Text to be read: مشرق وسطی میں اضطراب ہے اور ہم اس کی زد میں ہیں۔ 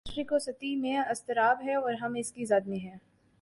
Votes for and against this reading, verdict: 10, 1, accepted